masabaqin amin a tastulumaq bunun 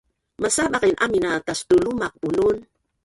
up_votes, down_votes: 1, 4